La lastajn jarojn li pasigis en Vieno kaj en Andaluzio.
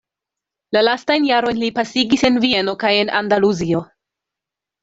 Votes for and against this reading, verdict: 2, 0, accepted